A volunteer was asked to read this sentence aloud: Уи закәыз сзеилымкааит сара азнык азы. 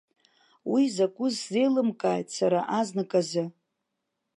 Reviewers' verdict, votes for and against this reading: accepted, 2, 0